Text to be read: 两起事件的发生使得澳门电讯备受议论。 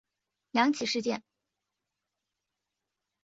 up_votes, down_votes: 0, 2